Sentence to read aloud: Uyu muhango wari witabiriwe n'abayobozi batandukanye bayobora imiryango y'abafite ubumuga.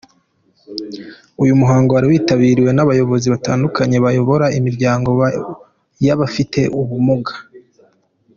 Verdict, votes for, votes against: accepted, 2, 1